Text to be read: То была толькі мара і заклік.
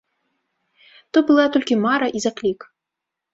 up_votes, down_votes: 2, 3